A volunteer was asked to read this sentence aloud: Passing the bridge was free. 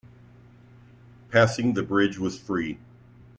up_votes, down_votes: 2, 0